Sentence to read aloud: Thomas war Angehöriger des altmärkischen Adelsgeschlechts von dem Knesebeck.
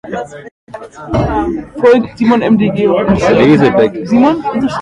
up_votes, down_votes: 0, 2